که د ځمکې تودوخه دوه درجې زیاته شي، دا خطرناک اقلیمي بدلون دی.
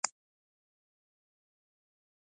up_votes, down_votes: 0, 2